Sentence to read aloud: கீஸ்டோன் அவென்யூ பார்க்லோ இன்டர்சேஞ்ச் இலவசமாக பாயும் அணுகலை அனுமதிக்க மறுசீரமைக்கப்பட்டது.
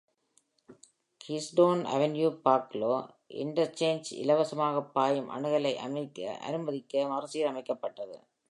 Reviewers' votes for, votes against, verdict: 0, 2, rejected